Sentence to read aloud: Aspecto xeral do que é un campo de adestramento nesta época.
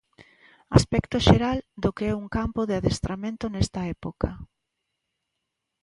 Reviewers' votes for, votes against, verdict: 2, 0, accepted